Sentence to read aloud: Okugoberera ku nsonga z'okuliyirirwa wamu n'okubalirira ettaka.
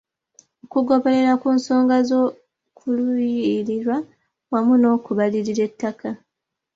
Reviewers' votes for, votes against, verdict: 2, 0, accepted